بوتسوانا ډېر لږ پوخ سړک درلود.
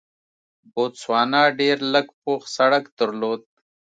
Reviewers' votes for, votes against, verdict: 2, 0, accepted